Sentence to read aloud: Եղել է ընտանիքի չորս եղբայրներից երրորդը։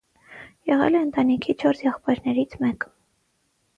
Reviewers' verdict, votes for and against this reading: rejected, 3, 6